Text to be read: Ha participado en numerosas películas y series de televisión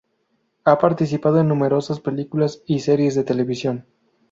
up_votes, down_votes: 2, 0